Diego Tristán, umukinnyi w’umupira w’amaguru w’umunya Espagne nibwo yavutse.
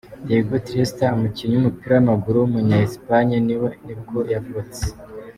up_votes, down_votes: 1, 2